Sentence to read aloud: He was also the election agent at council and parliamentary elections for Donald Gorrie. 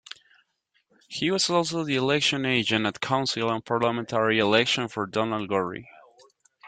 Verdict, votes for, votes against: accepted, 2, 0